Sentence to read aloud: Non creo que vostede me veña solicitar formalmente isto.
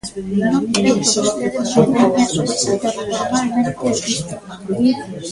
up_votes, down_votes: 0, 2